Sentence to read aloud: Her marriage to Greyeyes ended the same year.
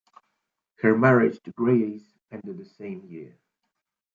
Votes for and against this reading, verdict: 0, 2, rejected